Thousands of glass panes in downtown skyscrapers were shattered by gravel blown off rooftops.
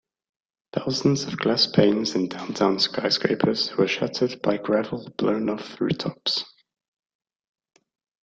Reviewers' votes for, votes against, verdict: 1, 2, rejected